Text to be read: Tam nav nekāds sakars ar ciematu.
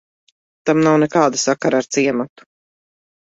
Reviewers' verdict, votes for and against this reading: rejected, 0, 2